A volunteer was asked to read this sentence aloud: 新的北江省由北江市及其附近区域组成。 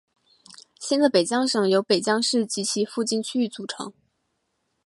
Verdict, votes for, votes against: accepted, 3, 0